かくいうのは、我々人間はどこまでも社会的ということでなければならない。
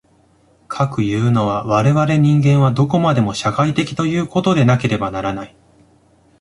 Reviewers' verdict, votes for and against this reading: accepted, 2, 1